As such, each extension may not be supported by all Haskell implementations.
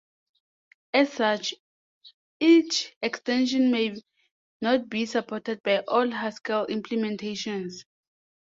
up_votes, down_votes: 2, 0